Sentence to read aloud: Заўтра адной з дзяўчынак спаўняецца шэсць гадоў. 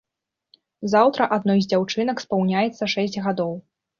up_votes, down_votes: 2, 0